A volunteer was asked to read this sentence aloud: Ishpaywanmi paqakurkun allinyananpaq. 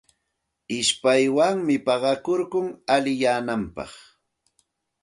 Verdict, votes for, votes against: accepted, 2, 0